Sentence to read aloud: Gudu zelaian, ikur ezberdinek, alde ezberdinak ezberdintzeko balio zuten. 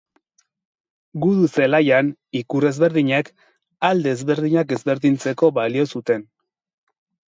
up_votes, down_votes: 2, 0